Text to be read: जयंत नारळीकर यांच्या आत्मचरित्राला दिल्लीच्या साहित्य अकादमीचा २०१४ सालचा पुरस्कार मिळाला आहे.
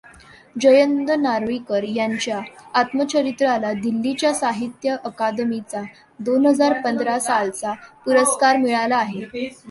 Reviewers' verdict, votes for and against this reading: rejected, 0, 2